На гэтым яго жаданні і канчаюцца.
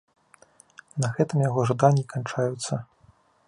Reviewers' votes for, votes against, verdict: 2, 0, accepted